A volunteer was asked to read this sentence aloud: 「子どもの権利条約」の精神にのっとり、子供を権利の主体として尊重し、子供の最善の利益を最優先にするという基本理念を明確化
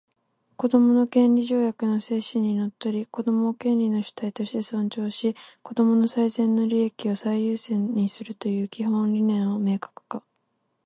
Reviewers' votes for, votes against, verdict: 2, 4, rejected